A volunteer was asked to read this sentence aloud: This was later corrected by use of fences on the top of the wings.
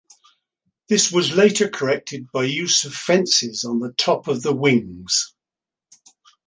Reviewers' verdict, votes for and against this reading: accepted, 2, 0